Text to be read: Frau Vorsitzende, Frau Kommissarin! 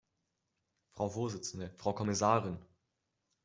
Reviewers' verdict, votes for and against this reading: accepted, 2, 0